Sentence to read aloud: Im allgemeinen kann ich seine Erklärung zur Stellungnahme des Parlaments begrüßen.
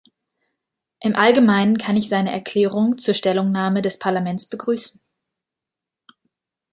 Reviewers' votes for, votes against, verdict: 2, 0, accepted